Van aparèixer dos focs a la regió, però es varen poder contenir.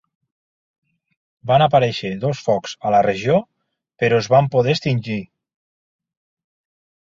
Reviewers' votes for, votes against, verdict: 0, 2, rejected